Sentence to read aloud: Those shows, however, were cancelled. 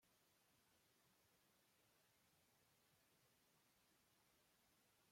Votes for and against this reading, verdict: 0, 2, rejected